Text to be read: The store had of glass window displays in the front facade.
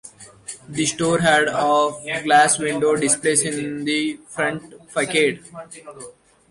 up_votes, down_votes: 1, 2